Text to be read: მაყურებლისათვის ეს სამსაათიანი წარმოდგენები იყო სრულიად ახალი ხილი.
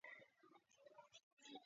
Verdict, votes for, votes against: rejected, 0, 2